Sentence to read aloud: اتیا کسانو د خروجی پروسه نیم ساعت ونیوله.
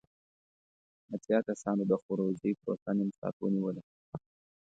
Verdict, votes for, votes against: accepted, 2, 0